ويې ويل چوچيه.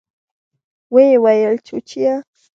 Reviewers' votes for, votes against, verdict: 0, 2, rejected